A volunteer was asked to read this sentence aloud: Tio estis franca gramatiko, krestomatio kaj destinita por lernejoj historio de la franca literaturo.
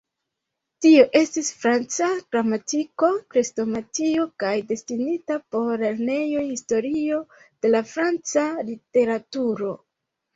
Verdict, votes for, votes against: accepted, 2, 0